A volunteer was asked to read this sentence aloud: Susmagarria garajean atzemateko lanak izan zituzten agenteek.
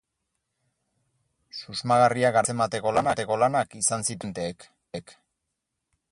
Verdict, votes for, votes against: rejected, 0, 4